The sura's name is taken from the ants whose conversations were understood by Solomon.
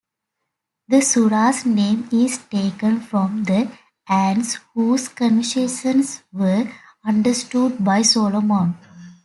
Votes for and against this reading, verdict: 2, 0, accepted